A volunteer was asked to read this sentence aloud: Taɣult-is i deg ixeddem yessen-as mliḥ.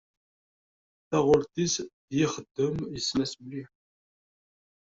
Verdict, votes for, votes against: rejected, 1, 2